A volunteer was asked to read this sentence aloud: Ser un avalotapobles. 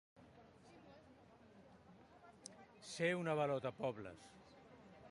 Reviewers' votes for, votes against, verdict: 2, 1, accepted